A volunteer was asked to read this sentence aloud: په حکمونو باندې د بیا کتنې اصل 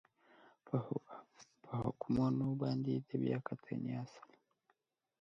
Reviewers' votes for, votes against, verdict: 2, 1, accepted